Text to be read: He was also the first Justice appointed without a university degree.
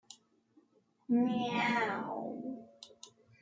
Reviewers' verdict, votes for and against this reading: rejected, 0, 2